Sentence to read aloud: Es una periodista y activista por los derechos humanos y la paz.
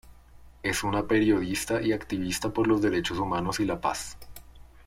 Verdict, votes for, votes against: accepted, 2, 0